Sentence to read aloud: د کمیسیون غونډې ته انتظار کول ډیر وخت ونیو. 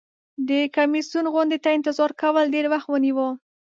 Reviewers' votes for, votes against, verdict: 8, 0, accepted